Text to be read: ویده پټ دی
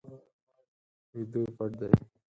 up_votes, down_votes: 2, 4